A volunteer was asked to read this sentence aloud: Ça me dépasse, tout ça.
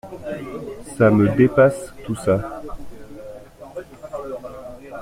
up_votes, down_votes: 2, 0